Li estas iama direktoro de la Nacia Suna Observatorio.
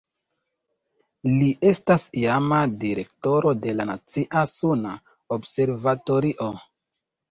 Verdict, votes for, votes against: rejected, 1, 2